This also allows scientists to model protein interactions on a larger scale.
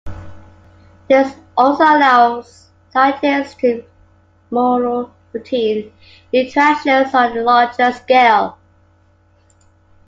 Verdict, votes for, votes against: rejected, 1, 2